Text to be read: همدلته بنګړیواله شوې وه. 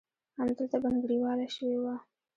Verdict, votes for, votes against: rejected, 0, 2